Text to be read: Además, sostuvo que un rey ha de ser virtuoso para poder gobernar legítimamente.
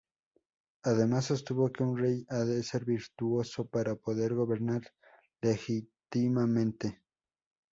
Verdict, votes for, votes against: rejected, 0, 2